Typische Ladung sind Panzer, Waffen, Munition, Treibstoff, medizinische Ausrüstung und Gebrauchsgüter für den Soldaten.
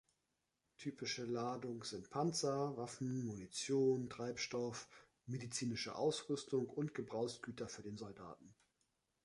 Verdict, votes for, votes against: accepted, 2, 0